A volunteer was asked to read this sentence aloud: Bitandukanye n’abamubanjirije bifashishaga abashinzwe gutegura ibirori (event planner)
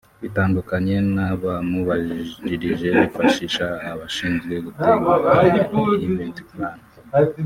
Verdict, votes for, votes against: rejected, 0, 2